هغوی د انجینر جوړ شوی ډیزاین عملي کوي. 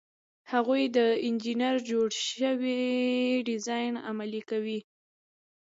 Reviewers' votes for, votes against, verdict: 2, 0, accepted